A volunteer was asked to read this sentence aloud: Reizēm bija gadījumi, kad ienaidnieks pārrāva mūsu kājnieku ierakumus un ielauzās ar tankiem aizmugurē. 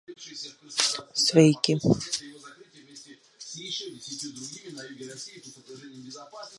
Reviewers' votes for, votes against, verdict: 0, 2, rejected